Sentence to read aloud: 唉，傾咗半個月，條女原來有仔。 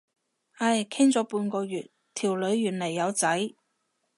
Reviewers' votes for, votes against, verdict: 2, 2, rejected